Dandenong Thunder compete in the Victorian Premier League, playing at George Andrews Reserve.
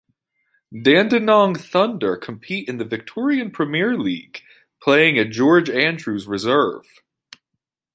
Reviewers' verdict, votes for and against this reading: accepted, 2, 0